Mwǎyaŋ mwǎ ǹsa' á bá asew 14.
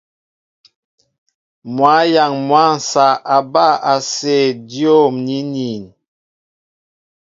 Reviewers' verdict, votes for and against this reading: rejected, 0, 2